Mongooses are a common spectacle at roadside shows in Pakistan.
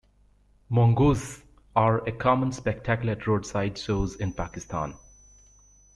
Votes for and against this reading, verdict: 1, 2, rejected